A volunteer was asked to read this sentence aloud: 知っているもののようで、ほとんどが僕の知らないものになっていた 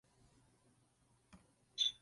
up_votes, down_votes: 1, 2